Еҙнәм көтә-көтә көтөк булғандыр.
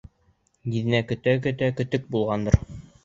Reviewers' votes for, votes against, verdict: 2, 0, accepted